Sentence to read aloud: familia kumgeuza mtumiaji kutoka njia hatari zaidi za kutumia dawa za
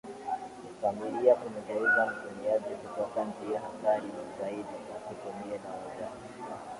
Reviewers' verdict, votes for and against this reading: rejected, 0, 2